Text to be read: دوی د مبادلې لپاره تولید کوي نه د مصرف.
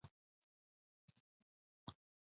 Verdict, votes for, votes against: accepted, 2, 0